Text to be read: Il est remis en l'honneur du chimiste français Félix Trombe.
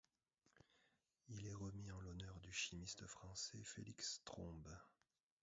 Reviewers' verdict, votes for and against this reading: rejected, 1, 2